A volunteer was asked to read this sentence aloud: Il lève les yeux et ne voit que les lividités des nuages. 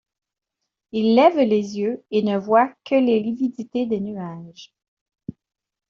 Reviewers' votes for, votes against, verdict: 2, 0, accepted